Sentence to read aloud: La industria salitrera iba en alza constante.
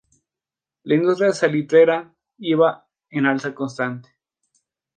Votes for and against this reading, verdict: 2, 0, accepted